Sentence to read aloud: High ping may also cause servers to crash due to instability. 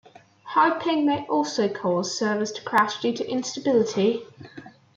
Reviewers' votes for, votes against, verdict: 2, 1, accepted